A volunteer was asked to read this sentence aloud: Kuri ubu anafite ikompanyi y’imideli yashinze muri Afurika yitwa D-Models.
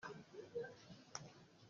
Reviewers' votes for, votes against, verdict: 0, 2, rejected